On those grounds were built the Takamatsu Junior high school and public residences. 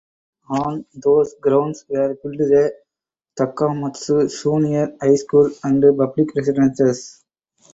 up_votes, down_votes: 2, 2